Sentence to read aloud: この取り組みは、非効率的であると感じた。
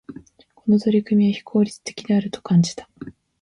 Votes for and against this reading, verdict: 1, 2, rejected